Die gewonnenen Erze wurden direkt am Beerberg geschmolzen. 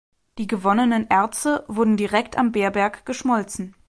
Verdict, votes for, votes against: accepted, 2, 0